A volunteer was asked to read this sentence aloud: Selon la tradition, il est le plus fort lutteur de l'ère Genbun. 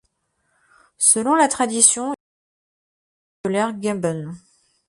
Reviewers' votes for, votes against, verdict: 1, 2, rejected